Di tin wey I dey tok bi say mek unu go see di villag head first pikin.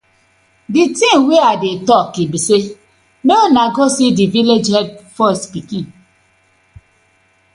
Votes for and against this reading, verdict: 2, 0, accepted